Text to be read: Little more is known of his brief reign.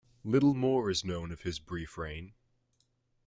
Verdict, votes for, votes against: accepted, 2, 1